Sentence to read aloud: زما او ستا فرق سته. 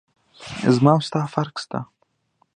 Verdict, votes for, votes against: accepted, 2, 0